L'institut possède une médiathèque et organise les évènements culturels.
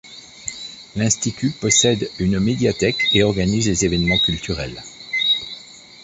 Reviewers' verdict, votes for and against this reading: rejected, 1, 2